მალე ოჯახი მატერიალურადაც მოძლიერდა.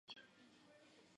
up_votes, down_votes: 0, 2